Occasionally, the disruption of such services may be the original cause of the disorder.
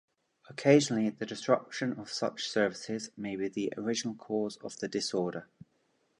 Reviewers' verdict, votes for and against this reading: accepted, 2, 0